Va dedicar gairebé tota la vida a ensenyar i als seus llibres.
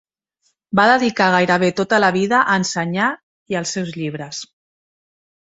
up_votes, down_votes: 3, 1